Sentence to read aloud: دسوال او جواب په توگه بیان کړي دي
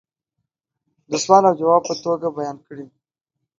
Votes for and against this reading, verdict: 2, 1, accepted